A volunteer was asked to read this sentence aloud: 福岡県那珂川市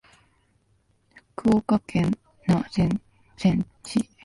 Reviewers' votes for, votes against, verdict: 0, 2, rejected